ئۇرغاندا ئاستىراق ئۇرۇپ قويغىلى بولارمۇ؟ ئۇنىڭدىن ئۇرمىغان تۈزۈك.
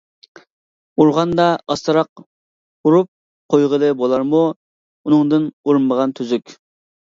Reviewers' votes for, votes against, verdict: 2, 0, accepted